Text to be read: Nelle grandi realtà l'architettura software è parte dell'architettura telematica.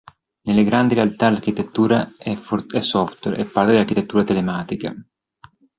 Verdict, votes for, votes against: rejected, 0, 3